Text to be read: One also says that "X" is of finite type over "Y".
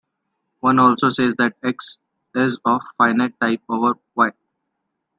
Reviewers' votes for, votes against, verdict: 2, 0, accepted